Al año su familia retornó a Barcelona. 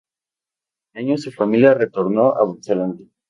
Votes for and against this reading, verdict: 2, 2, rejected